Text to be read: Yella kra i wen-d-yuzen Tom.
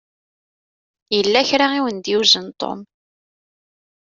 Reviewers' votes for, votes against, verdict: 2, 1, accepted